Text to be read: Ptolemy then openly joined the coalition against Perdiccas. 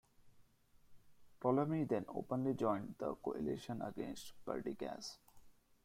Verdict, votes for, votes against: rejected, 0, 2